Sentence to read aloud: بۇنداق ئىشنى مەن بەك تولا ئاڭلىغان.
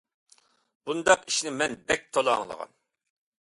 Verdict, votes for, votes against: accepted, 2, 0